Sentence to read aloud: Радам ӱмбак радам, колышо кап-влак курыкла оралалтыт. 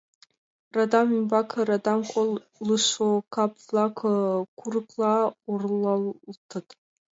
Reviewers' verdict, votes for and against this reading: rejected, 1, 2